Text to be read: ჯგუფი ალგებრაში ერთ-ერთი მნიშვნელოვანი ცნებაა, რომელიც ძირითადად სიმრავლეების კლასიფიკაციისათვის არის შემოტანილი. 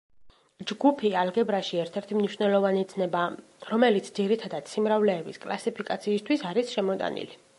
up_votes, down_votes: 0, 2